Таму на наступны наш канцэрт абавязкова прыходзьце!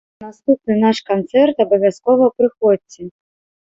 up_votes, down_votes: 1, 3